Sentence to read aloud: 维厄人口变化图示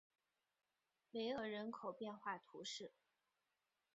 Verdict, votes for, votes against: accepted, 4, 0